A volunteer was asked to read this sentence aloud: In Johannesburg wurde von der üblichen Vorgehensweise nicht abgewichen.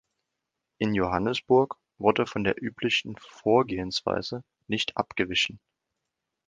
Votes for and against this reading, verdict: 2, 0, accepted